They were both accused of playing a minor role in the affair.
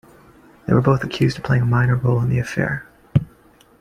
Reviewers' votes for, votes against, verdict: 2, 0, accepted